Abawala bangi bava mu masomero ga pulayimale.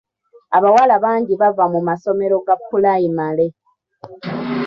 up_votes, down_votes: 2, 0